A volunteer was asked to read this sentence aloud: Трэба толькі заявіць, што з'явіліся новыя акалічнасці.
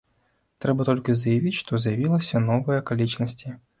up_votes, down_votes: 1, 2